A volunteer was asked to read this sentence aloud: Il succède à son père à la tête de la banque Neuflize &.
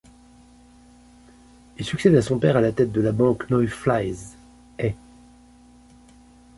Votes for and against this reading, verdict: 1, 2, rejected